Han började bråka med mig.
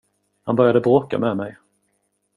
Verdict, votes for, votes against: accepted, 2, 0